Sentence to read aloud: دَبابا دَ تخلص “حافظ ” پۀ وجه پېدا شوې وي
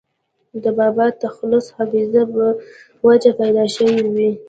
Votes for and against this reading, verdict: 1, 2, rejected